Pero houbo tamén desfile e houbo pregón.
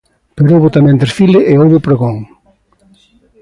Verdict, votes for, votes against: accepted, 2, 1